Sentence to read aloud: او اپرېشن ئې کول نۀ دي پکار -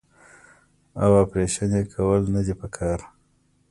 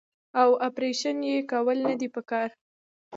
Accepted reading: first